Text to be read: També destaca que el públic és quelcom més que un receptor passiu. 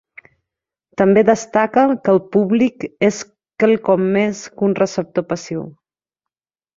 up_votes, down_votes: 0, 2